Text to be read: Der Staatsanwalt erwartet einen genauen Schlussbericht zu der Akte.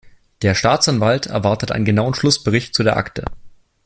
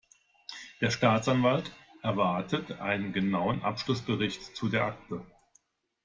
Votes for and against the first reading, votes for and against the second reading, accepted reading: 2, 0, 0, 2, first